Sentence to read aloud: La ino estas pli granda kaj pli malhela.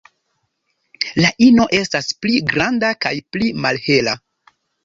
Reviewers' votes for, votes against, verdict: 2, 0, accepted